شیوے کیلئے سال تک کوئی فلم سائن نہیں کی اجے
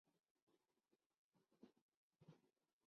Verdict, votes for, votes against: rejected, 0, 2